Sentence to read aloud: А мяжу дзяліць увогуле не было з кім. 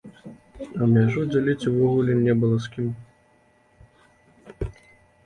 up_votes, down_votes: 0, 2